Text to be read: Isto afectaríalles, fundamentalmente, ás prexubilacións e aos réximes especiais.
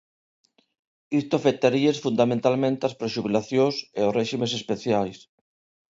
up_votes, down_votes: 0, 2